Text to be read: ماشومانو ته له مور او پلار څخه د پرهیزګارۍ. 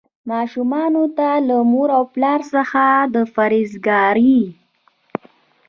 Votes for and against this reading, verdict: 2, 0, accepted